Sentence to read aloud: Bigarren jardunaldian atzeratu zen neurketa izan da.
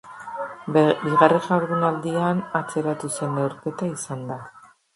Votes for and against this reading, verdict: 1, 2, rejected